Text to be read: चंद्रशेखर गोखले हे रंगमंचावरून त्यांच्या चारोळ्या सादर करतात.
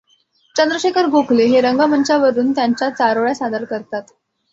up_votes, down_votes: 2, 0